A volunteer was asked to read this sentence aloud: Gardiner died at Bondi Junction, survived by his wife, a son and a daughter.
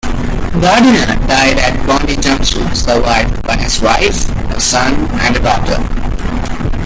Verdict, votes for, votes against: accepted, 2, 0